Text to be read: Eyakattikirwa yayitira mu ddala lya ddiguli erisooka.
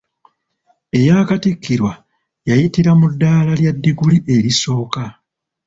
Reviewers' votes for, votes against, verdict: 2, 0, accepted